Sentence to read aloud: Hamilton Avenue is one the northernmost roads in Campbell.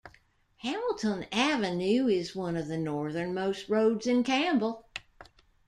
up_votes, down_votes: 1, 2